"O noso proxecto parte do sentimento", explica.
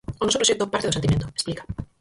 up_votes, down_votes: 0, 4